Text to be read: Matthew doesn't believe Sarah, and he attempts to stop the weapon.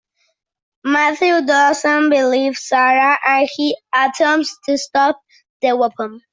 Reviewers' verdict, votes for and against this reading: accepted, 2, 0